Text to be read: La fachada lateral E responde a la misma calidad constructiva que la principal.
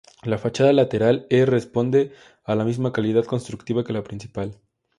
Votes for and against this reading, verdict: 2, 0, accepted